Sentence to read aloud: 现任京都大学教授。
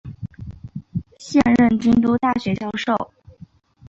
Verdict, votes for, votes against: accepted, 3, 0